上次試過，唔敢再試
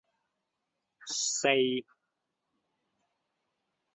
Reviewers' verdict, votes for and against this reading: rejected, 0, 2